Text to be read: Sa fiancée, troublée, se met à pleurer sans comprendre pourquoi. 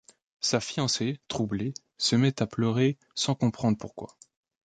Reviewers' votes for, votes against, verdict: 2, 0, accepted